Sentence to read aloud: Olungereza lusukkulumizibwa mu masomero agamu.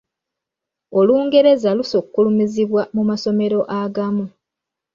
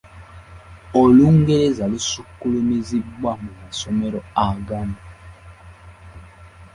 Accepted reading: second